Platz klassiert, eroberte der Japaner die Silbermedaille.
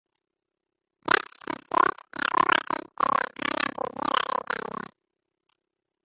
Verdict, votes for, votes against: rejected, 0, 2